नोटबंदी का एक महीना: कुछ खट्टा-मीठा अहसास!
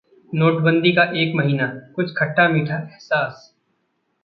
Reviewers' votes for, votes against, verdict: 0, 2, rejected